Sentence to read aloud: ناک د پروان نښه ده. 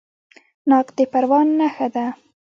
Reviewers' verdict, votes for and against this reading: accepted, 2, 0